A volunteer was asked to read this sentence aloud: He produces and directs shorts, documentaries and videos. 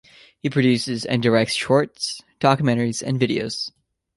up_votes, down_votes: 2, 0